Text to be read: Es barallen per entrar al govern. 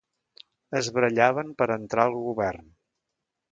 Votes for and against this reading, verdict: 1, 2, rejected